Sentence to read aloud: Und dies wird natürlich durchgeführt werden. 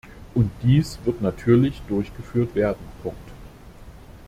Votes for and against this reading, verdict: 0, 2, rejected